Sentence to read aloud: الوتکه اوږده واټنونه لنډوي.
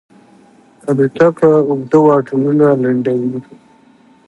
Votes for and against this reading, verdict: 2, 0, accepted